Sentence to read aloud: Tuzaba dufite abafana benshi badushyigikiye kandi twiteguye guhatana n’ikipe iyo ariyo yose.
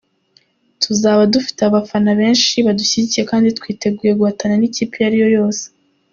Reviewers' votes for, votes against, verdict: 2, 0, accepted